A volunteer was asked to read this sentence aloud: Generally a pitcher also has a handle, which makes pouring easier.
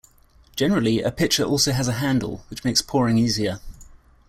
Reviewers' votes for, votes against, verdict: 3, 0, accepted